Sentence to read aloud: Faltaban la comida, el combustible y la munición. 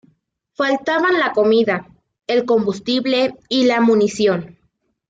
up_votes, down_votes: 2, 0